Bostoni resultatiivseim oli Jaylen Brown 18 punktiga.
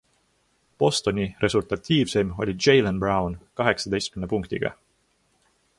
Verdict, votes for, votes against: rejected, 0, 2